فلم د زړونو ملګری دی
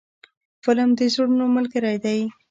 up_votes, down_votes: 0, 2